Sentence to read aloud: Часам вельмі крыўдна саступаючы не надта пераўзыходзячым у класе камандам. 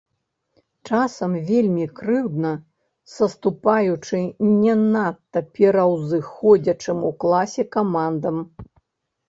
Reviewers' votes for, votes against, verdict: 0, 2, rejected